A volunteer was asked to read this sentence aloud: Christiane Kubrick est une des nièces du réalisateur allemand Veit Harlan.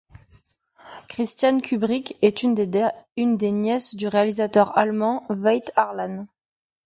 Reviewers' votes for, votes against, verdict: 0, 2, rejected